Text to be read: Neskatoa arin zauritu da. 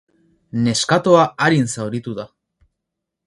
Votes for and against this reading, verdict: 0, 2, rejected